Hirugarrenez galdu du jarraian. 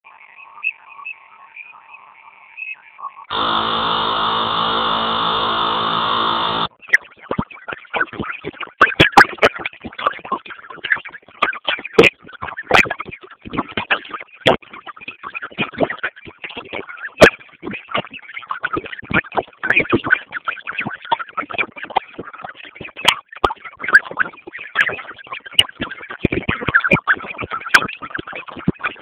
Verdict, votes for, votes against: rejected, 0, 4